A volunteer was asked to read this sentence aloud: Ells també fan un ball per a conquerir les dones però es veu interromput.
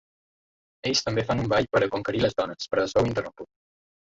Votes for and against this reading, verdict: 2, 0, accepted